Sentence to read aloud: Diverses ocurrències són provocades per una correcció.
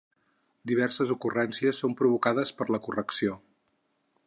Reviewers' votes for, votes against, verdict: 0, 4, rejected